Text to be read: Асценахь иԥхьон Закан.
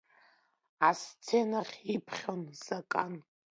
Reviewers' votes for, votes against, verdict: 1, 2, rejected